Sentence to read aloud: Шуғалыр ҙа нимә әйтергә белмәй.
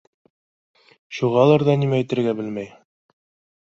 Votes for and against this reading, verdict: 2, 0, accepted